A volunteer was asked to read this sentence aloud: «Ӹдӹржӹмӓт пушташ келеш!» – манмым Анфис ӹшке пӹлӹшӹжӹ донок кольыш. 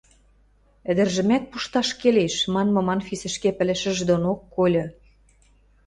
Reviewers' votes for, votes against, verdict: 0, 2, rejected